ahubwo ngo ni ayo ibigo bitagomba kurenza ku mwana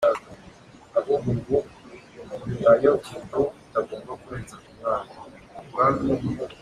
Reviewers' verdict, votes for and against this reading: rejected, 0, 2